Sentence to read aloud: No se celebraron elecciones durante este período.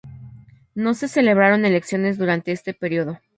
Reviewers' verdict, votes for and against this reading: accepted, 2, 0